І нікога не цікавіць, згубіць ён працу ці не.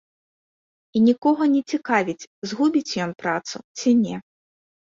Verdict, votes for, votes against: accepted, 2, 0